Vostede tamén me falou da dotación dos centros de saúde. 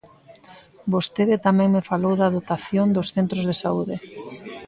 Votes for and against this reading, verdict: 2, 0, accepted